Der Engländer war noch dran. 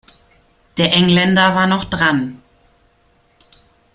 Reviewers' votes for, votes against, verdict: 2, 0, accepted